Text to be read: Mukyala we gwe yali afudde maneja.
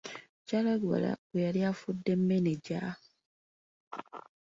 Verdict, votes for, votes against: rejected, 0, 3